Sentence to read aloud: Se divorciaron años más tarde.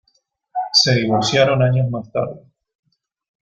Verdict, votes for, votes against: accepted, 2, 0